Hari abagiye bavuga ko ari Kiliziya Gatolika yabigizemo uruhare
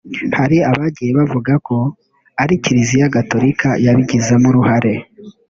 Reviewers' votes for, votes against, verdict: 2, 0, accepted